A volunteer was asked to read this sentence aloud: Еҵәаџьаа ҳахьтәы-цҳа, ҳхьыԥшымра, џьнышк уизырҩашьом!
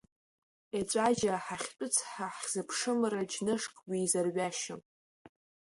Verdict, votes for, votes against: accepted, 2, 1